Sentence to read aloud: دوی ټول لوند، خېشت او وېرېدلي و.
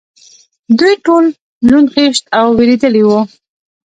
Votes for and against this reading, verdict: 1, 2, rejected